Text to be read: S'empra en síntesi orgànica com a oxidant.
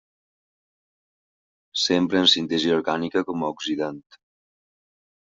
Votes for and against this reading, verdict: 1, 2, rejected